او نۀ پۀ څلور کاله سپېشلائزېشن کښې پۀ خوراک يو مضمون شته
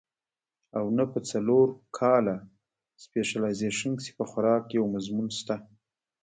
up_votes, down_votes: 1, 2